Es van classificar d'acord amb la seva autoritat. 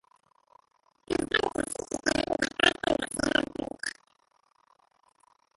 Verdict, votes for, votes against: rejected, 0, 3